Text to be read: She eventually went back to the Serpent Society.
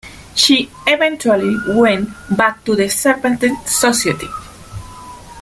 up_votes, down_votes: 1, 2